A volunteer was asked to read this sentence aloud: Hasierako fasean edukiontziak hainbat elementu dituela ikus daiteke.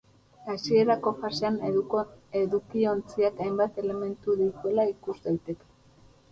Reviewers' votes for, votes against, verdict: 2, 2, rejected